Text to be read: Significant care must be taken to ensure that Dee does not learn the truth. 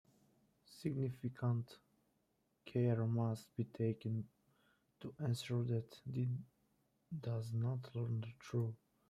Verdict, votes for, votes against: rejected, 0, 2